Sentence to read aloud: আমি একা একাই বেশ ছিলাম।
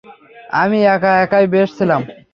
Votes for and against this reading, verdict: 3, 0, accepted